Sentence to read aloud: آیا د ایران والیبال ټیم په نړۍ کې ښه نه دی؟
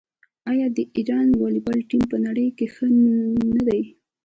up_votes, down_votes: 2, 0